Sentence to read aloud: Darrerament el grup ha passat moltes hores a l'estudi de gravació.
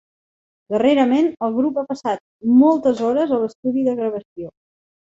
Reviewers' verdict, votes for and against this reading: accepted, 3, 0